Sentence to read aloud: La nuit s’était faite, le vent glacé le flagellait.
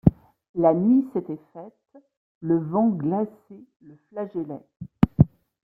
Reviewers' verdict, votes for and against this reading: accepted, 2, 1